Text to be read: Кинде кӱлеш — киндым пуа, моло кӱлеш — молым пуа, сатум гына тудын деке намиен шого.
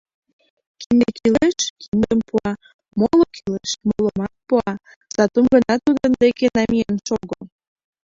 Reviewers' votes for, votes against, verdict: 0, 2, rejected